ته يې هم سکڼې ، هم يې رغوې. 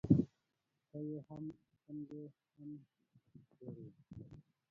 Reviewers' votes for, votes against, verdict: 0, 2, rejected